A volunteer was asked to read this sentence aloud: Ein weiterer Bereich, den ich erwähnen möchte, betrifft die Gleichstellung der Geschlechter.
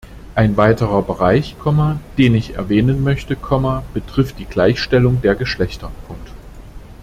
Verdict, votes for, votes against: rejected, 1, 2